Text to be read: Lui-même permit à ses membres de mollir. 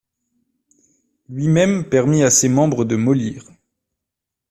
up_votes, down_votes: 2, 1